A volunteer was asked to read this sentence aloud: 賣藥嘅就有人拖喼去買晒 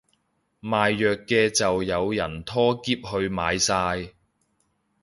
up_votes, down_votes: 3, 0